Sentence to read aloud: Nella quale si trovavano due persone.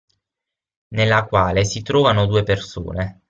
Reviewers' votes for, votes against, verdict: 0, 6, rejected